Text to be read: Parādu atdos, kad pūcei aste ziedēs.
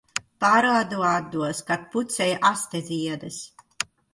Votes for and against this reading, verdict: 1, 2, rejected